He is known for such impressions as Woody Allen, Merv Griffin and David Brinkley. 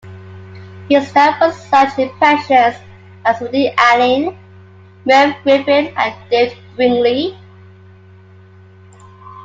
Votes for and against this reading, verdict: 0, 2, rejected